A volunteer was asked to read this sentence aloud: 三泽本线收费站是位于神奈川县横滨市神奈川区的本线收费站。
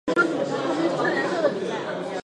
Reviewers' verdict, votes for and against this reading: rejected, 1, 2